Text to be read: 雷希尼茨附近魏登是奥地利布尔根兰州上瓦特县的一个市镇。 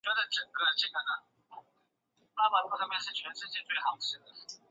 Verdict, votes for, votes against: rejected, 0, 2